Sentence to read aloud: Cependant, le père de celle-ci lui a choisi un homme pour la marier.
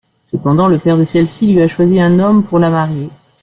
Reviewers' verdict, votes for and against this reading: accepted, 2, 0